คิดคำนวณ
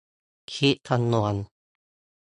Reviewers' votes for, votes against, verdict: 2, 0, accepted